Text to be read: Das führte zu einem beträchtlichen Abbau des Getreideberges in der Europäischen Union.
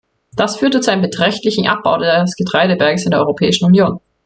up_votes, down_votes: 1, 2